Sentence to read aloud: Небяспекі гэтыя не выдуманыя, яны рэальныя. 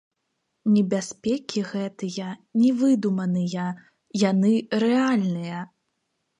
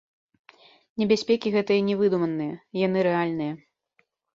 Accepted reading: second